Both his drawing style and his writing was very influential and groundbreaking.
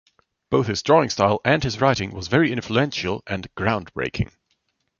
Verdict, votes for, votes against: accepted, 2, 0